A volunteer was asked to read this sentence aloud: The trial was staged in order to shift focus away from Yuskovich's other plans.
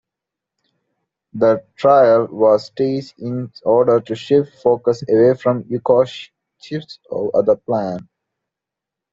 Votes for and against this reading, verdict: 0, 2, rejected